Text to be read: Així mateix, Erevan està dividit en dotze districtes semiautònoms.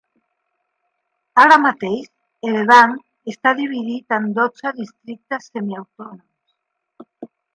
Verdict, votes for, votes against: rejected, 2, 3